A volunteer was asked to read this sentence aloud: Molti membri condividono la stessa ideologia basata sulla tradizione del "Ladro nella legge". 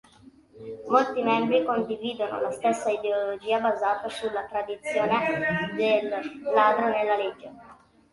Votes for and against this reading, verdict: 0, 2, rejected